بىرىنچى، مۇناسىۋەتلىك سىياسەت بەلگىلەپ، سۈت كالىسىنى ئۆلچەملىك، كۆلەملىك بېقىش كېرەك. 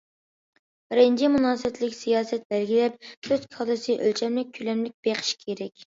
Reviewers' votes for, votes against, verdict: 0, 2, rejected